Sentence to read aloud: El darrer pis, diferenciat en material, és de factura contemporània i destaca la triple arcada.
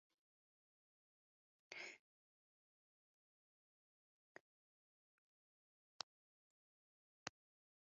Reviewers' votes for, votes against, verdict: 0, 2, rejected